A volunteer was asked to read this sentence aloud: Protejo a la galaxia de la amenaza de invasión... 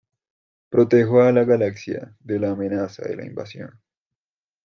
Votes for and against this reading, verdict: 0, 2, rejected